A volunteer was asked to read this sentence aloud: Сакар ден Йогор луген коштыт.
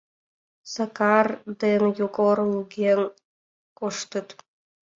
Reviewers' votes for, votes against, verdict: 2, 0, accepted